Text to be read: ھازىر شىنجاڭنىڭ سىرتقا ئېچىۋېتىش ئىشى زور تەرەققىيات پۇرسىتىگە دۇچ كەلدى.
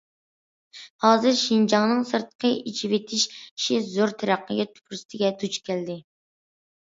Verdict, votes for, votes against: rejected, 0, 2